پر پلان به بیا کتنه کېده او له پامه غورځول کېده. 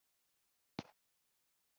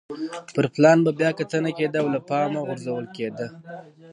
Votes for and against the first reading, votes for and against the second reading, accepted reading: 1, 2, 2, 0, second